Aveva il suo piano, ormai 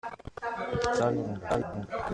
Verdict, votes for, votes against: rejected, 0, 2